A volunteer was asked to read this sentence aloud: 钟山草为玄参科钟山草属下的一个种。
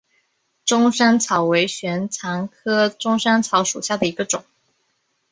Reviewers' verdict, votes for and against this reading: rejected, 1, 2